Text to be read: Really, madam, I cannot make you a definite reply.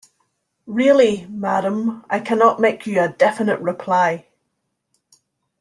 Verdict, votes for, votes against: accepted, 2, 0